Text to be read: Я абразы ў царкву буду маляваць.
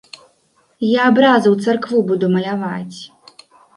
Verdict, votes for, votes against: rejected, 0, 2